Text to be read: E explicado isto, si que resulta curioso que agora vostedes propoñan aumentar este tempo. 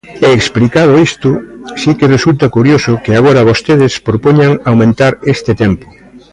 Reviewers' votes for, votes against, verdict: 1, 2, rejected